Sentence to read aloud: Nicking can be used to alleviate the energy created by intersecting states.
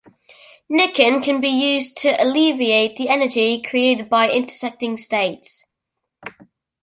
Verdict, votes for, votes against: accepted, 2, 0